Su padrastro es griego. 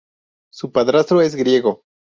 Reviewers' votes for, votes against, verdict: 2, 0, accepted